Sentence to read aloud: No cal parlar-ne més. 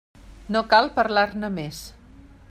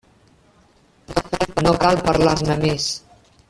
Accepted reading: first